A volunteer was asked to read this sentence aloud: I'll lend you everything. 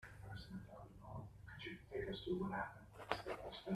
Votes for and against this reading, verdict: 1, 2, rejected